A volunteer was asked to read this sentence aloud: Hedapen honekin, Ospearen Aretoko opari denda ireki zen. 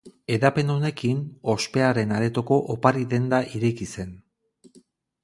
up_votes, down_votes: 4, 0